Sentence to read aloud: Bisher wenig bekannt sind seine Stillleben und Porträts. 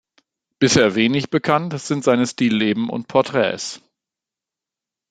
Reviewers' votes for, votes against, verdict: 0, 2, rejected